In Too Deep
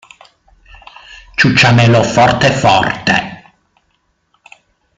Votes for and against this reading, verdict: 0, 2, rejected